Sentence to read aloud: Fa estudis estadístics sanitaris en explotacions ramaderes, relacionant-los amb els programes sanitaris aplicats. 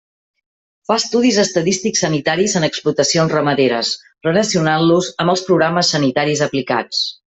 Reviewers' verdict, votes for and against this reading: accepted, 3, 0